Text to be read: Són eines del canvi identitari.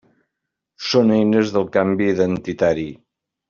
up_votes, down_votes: 3, 0